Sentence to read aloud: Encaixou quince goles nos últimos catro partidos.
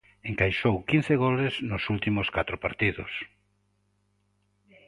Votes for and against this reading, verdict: 6, 0, accepted